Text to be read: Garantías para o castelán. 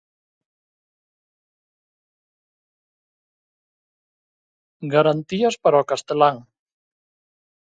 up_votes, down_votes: 2, 0